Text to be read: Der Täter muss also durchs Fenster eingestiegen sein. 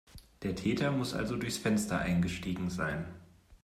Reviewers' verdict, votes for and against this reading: accepted, 2, 0